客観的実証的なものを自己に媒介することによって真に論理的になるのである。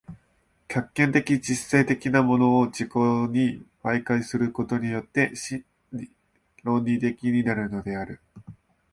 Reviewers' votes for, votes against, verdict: 0, 2, rejected